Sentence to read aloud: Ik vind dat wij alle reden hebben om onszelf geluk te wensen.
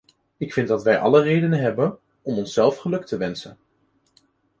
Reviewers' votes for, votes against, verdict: 2, 0, accepted